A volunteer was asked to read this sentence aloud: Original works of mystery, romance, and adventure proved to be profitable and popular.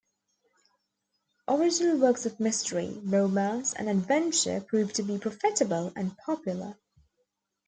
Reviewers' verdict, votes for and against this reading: rejected, 1, 2